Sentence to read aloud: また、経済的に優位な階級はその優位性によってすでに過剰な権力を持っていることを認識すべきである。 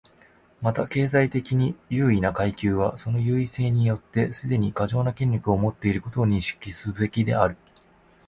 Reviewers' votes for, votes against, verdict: 2, 1, accepted